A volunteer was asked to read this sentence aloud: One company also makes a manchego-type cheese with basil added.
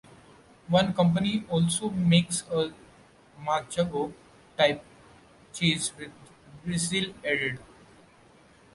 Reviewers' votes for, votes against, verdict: 0, 2, rejected